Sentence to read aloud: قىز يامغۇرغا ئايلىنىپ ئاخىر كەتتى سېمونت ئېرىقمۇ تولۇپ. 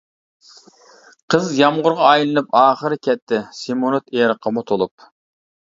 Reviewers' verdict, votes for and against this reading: rejected, 1, 2